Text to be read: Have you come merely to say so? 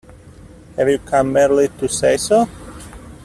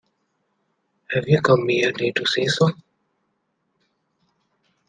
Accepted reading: second